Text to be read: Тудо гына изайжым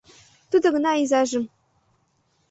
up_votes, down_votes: 2, 0